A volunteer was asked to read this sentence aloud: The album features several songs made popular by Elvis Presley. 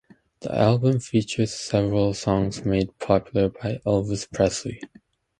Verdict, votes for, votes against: accepted, 2, 0